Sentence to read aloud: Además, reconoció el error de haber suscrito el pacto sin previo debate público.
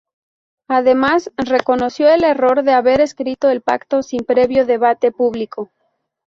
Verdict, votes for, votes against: rejected, 0, 2